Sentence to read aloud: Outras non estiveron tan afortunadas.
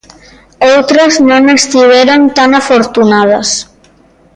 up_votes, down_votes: 2, 0